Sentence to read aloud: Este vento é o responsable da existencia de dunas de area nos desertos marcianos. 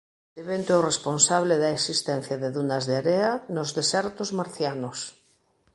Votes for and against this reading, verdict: 1, 3, rejected